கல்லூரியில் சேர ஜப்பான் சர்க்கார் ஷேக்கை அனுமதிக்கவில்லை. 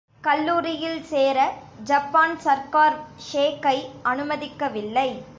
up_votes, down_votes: 2, 0